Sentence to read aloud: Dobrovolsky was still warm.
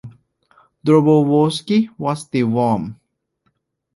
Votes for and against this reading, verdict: 2, 0, accepted